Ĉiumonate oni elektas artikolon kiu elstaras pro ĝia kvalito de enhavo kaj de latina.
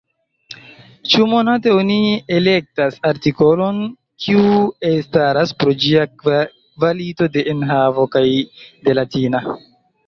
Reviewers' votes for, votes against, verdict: 0, 2, rejected